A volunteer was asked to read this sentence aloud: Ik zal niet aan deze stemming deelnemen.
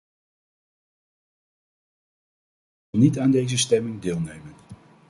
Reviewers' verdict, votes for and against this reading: rejected, 0, 2